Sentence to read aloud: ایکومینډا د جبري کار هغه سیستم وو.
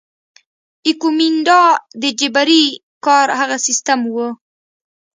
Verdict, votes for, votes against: accepted, 2, 0